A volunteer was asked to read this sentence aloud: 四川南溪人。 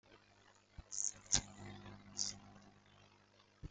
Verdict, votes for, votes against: rejected, 0, 2